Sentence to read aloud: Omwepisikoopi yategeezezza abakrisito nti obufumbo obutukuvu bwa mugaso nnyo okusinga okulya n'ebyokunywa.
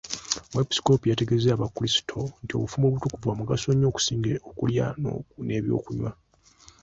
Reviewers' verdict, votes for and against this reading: accepted, 2, 1